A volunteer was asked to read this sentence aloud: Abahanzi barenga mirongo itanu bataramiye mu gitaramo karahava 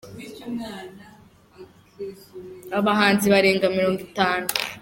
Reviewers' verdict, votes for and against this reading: rejected, 0, 3